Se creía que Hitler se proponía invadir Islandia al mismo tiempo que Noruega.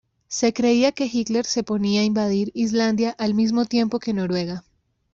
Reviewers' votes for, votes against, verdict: 0, 3, rejected